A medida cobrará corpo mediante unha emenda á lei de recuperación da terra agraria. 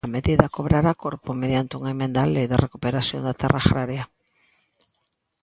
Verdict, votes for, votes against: rejected, 0, 2